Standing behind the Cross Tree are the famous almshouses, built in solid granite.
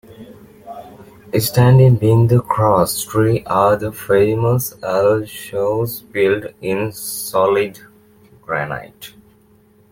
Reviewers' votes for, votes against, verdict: 1, 2, rejected